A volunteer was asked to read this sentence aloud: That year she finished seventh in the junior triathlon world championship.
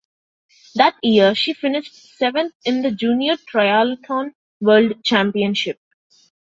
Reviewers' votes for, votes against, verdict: 0, 2, rejected